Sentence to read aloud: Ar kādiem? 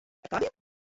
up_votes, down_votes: 1, 2